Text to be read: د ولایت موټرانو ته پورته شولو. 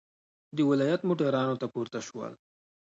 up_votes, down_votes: 2, 0